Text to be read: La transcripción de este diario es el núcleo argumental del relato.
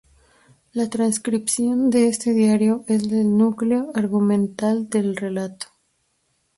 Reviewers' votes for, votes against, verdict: 0, 2, rejected